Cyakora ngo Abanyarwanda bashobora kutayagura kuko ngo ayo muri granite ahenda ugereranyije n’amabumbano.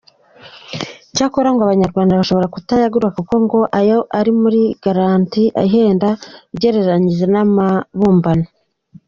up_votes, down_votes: 0, 2